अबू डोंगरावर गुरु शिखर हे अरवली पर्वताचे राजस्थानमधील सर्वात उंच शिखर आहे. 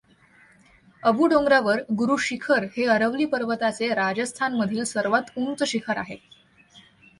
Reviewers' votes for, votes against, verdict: 2, 0, accepted